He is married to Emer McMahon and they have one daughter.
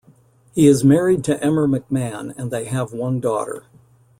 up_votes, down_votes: 2, 0